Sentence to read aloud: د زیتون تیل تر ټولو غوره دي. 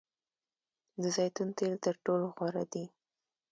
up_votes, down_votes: 2, 0